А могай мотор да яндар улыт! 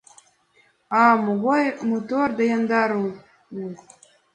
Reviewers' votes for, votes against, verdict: 1, 2, rejected